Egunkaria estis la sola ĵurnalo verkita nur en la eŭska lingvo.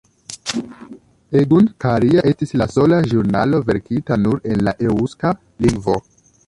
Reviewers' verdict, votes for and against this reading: rejected, 0, 2